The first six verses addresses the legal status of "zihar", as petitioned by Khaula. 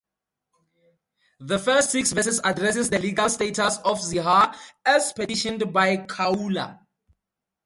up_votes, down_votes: 4, 0